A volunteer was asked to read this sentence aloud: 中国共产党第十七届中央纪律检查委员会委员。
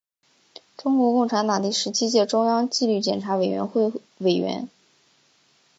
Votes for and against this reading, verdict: 3, 0, accepted